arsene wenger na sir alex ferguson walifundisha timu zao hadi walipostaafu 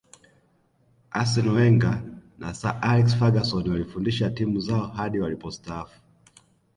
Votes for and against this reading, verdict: 1, 2, rejected